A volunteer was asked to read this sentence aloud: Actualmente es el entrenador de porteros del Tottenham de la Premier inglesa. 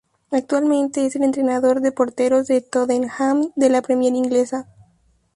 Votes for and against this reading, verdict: 4, 0, accepted